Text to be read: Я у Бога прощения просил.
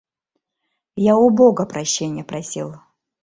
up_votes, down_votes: 2, 0